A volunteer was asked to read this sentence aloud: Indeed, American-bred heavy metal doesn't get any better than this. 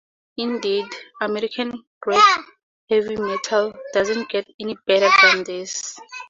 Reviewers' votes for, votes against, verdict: 2, 0, accepted